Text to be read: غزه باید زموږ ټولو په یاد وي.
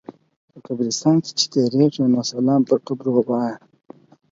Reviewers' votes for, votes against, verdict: 2, 4, rejected